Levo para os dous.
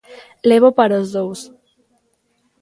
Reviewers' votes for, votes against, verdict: 3, 0, accepted